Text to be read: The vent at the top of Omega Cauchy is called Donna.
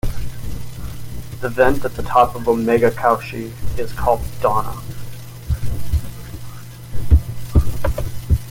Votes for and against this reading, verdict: 2, 0, accepted